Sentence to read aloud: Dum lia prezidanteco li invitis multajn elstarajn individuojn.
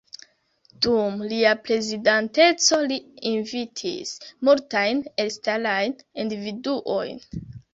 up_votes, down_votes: 0, 2